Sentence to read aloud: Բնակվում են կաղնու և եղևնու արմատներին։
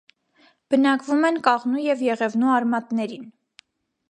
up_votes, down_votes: 2, 0